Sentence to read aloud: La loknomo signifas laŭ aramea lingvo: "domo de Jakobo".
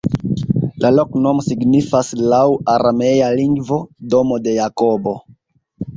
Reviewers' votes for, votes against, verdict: 3, 0, accepted